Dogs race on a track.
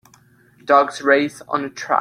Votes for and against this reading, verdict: 0, 2, rejected